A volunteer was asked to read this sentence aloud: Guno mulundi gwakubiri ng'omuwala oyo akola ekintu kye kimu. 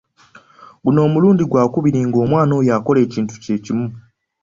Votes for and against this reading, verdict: 1, 2, rejected